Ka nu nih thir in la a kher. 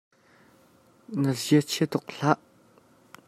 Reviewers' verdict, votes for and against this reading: rejected, 0, 2